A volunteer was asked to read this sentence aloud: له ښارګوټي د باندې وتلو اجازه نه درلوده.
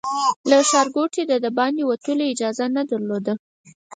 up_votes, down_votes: 4, 2